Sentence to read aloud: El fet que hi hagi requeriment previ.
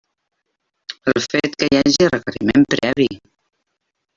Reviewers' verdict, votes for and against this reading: rejected, 0, 2